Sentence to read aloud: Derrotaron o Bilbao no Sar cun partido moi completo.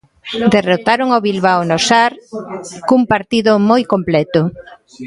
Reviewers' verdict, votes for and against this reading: rejected, 1, 2